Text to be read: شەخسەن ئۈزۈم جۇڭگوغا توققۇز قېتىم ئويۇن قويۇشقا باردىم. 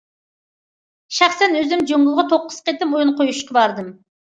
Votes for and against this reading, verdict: 2, 0, accepted